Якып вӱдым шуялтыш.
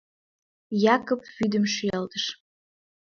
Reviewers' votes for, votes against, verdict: 1, 2, rejected